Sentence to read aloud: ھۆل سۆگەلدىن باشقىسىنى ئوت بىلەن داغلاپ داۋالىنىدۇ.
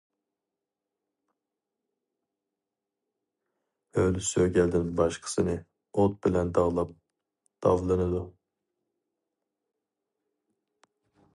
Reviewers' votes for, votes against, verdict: 0, 2, rejected